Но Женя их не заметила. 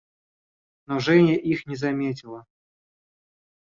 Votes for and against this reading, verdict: 2, 0, accepted